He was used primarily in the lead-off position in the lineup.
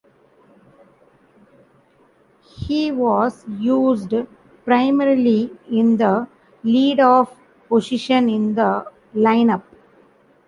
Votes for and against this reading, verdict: 1, 2, rejected